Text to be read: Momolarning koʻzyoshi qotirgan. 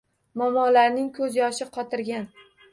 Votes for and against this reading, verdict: 1, 2, rejected